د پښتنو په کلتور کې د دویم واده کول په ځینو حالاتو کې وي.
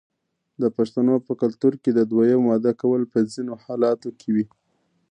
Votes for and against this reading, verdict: 2, 1, accepted